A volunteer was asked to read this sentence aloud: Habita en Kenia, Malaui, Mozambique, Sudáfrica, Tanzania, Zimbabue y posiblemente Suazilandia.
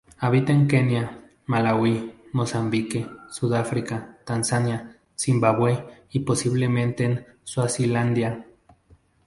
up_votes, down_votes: 2, 2